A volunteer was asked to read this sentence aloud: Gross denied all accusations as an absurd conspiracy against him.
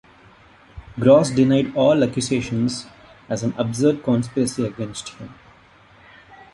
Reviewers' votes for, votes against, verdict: 2, 0, accepted